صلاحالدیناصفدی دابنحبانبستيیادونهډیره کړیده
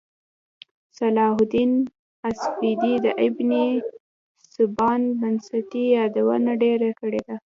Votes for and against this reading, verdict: 1, 2, rejected